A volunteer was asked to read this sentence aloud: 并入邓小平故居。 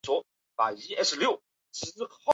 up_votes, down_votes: 1, 2